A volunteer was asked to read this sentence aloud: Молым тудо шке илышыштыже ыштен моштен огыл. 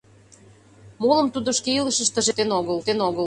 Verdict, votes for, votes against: rejected, 0, 3